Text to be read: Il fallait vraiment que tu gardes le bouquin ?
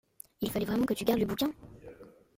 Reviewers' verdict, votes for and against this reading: accepted, 2, 1